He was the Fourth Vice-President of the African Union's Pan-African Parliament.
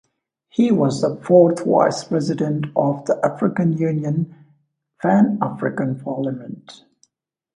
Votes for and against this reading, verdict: 2, 1, accepted